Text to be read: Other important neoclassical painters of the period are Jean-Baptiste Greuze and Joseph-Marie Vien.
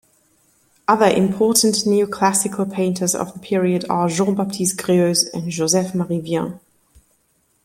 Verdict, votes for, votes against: accepted, 2, 0